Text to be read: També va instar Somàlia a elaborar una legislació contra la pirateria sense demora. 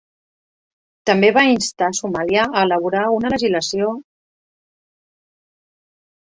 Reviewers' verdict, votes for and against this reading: rejected, 0, 2